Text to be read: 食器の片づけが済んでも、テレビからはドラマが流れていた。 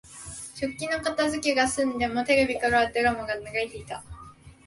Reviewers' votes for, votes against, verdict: 2, 0, accepted